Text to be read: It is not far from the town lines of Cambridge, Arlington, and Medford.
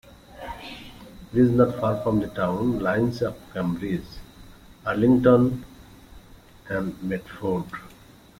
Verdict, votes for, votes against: rejected, 0, 2